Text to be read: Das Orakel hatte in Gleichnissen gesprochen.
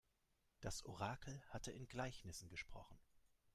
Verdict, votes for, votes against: accepted, 3, 0